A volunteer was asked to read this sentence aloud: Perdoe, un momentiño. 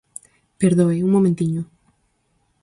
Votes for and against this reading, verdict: 4, 0, accepted